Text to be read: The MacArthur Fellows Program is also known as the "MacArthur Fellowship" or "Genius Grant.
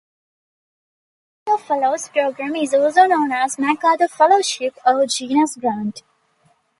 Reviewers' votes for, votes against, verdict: 1, 2, rejected